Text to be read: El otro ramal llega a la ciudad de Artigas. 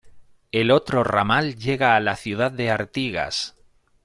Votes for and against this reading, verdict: 2, 1, accepted